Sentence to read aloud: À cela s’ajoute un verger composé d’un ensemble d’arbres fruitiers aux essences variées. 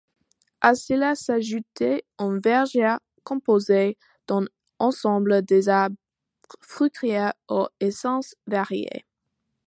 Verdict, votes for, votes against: rejected, 0, 2